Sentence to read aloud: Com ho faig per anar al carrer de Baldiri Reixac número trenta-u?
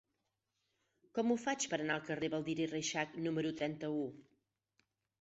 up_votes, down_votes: 0, 6